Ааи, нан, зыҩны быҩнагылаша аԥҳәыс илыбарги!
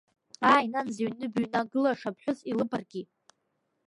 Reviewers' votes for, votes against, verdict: 2, 0, accepted